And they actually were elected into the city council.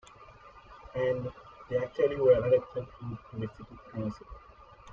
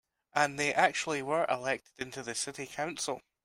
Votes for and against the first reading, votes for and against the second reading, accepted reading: 0, 2, 2, 0, second